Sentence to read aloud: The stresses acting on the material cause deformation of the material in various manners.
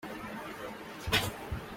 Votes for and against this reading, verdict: 0, 2, rejected